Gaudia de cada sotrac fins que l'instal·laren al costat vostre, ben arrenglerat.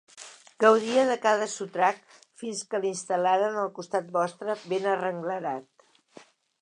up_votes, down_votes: 3, 0